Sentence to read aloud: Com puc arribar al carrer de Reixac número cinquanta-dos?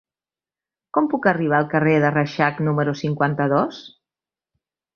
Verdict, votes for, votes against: accepted, 3, 0